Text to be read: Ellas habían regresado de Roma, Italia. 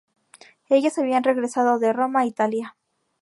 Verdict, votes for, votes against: accepted, 2, 0